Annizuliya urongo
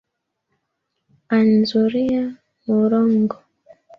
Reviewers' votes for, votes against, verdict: 1, 2, rejected